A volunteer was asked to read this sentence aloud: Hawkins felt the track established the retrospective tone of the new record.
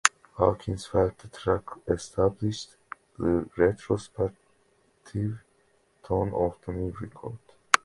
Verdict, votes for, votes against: accepted, 2, 0